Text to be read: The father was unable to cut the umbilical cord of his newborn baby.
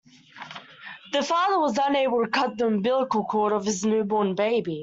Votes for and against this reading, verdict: 2, 1, accepted